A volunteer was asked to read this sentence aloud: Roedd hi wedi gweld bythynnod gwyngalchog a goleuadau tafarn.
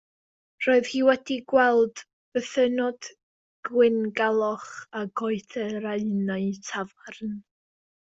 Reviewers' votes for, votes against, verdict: 0, 2, rejected